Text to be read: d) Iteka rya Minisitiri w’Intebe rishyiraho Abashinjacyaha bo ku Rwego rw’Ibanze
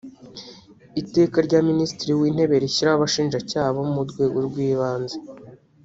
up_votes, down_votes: 0, 2